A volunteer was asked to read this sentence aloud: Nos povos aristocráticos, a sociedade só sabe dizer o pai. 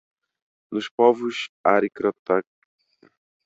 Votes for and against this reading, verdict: 0, 2, rejected